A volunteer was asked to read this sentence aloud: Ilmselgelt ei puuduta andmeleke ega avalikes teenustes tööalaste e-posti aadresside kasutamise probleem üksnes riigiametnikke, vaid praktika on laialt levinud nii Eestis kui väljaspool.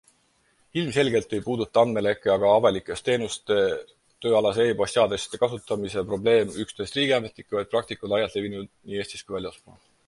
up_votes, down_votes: 2, 4